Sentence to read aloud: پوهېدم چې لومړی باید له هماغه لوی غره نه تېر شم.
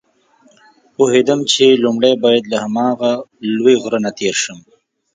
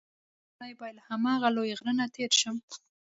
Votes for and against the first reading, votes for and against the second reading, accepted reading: 2, 0, 1, 3, first